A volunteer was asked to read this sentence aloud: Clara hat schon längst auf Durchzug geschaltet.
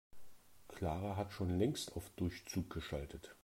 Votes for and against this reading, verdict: 2, 0, accepted